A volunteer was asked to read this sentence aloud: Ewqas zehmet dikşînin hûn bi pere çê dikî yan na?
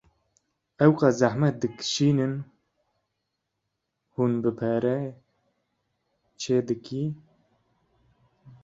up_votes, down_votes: 0, 2